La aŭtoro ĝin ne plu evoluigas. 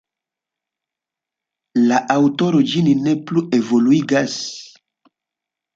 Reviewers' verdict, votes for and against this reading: accepted, 2, 0